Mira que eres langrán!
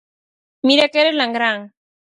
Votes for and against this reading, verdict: 4, 0, accepted